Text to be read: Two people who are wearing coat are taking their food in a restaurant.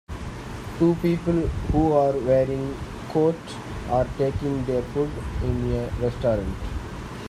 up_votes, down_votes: 2, 0